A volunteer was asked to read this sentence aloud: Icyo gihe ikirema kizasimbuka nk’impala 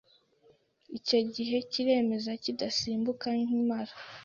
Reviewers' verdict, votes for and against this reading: rejected, 0, 2